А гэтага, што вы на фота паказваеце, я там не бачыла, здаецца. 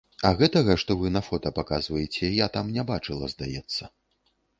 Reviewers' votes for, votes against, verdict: 2, 0, accepted